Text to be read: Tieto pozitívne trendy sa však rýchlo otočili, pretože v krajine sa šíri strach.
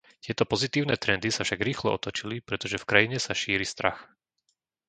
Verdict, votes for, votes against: accepted, 2, 1